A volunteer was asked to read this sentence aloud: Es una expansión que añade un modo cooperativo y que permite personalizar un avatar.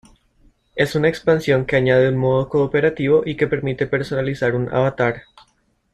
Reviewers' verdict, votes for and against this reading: accepted, 2, 0